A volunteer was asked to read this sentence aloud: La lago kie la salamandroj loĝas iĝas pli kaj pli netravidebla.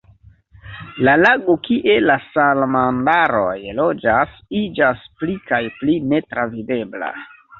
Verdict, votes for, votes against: rejected, 1, 3